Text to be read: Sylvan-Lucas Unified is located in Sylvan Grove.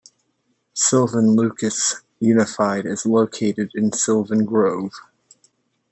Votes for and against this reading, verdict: 2, 0, accepted